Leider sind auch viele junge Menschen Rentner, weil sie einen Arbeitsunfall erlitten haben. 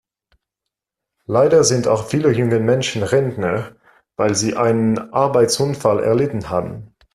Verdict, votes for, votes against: accepted, 2, 0